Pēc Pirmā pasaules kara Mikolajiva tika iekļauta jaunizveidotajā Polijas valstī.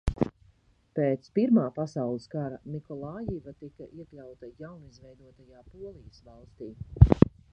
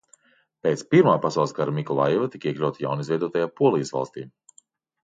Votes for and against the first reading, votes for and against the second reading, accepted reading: 0, 2, 2, 0, second